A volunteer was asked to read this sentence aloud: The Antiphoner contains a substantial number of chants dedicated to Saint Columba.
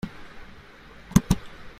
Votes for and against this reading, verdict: 0, 2, rejected